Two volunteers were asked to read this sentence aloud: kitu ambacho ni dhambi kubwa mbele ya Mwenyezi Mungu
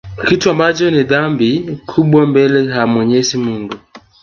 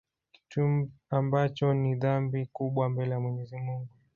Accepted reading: first